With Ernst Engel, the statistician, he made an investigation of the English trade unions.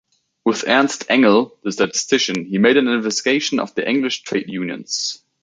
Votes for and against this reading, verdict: 0, 2, rejected